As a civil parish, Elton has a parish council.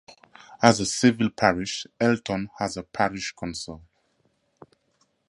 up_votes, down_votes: 4, 0